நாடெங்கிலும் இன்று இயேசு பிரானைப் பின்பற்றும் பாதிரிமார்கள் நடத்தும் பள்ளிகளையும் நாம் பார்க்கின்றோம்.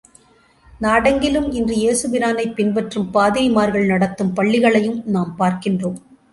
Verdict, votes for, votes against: accepted, 2, 0